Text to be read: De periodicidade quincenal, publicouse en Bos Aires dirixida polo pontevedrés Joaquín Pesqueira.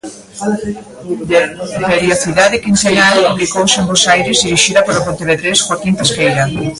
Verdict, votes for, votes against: rejected, 0, 2